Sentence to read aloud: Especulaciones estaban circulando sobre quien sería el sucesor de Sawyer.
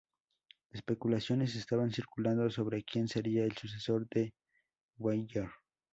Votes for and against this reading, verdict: 0, 2, rejected